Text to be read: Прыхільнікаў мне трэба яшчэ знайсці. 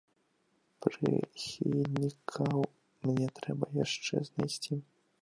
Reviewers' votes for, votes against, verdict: 0, 2, rejected